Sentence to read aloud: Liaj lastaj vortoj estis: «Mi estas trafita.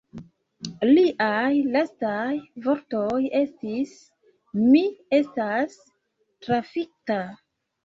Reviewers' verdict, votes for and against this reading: accepted, 2, 1